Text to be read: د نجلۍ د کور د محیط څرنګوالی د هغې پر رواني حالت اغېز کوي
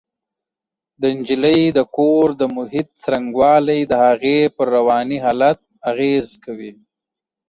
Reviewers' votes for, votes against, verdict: 2, 0, accepted